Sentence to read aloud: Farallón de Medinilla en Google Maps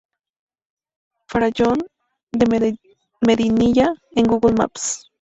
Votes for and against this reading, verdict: 0, 2, rejected